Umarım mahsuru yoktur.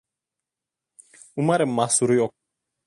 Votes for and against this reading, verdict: 0, 2, rejected